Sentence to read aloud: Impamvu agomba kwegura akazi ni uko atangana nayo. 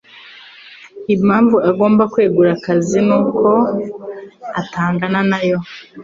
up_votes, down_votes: 2, 0